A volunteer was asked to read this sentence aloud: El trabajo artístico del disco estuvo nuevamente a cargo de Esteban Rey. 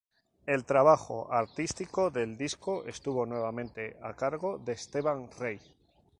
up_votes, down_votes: 2, 0